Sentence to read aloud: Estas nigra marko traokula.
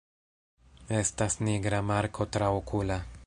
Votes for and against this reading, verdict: 2, 0, accepted